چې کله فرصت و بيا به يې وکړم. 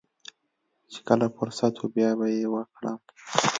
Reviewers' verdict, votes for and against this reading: accepted, 2, 0